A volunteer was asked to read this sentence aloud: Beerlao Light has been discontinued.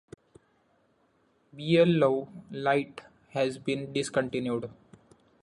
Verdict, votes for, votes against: accepted, 2, 1